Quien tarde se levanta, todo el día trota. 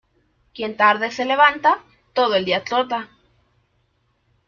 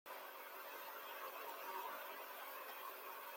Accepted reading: first